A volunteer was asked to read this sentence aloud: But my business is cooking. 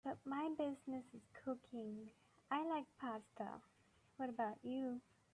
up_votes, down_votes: 0, 2